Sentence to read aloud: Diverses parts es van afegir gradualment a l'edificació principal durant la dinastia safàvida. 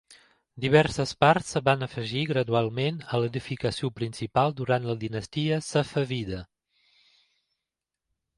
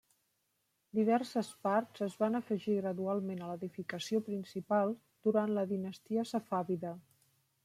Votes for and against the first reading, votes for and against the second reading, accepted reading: 0, 2, 2, 0, second